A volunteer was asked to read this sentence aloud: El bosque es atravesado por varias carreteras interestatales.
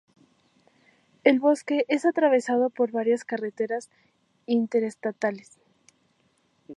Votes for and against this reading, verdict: 2, 0, accepted